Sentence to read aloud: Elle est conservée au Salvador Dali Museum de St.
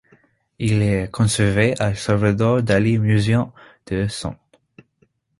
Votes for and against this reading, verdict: 2, 0, accepted